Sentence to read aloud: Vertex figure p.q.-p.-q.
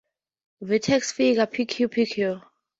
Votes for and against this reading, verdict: 2, 0, accepted